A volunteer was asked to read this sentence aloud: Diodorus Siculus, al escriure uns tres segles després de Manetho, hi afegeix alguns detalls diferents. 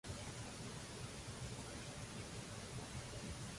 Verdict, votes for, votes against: rejected, 0, 2